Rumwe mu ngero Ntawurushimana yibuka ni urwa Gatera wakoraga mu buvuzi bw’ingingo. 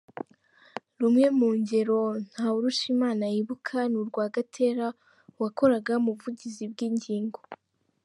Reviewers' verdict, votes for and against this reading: rejected, 1, 2